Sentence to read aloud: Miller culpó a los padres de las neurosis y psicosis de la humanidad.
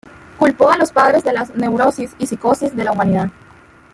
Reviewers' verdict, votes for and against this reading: rejected, 0, 2